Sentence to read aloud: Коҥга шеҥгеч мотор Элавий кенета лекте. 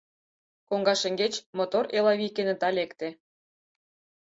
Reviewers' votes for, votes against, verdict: 6, 0, accepted